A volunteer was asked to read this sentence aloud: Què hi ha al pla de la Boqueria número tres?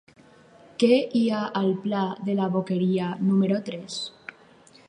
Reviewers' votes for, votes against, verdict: 2, 0, accepted